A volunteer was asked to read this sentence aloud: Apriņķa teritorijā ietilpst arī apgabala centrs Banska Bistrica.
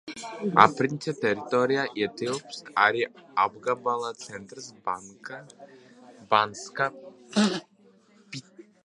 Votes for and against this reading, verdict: 0, 2, rejected